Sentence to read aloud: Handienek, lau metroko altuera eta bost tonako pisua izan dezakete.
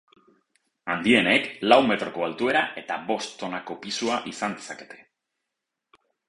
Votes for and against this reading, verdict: 8, 0, accepted